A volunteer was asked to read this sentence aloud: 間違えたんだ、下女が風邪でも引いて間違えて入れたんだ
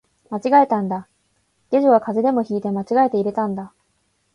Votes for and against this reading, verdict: 2, 0, accepted